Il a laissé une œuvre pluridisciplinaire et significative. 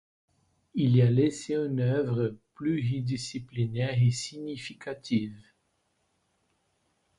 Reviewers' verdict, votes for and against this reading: rejected, 1, 2